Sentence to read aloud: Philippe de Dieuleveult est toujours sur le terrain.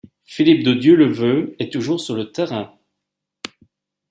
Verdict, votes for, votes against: accepted, 2, 0